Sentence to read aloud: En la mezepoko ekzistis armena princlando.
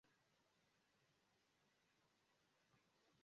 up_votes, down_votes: 0, 2